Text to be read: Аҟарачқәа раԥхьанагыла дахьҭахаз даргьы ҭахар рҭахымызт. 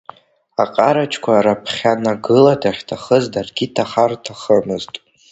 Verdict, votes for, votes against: rejected, 0, 3